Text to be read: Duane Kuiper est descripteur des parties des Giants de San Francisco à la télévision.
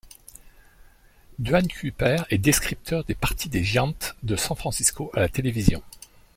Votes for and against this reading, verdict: 2, 0, accepted